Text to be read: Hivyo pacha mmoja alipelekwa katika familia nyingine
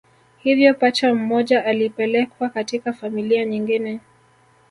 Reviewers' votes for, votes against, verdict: 2, 0, accepted